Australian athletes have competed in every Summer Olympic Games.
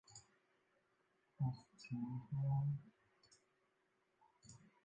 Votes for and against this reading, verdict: 0, 2, rejected